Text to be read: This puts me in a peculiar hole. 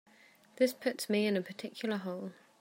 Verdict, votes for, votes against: rejected, 1, 2